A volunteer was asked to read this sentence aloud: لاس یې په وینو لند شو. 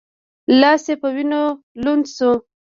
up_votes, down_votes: 1, 2